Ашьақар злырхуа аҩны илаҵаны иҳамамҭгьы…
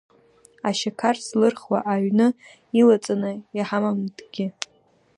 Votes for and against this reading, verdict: 1, 2, rejected